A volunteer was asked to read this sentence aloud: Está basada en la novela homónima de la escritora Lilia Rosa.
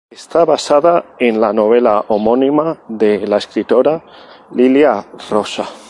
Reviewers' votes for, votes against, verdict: 2, 0, accepted